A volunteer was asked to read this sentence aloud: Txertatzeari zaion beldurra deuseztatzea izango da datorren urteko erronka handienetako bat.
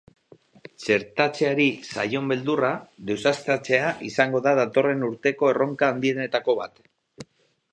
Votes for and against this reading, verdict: 2, 2, rejected